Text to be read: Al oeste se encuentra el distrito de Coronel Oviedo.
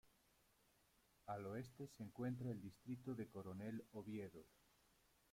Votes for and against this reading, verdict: 0, 2, rejected